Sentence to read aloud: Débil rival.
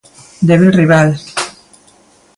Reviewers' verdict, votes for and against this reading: accepted, 2, 0